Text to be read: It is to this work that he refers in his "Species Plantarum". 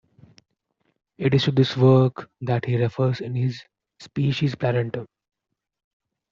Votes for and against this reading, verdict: 0, 2, rejected